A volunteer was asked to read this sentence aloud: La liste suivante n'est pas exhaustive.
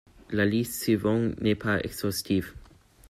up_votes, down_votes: 1, 2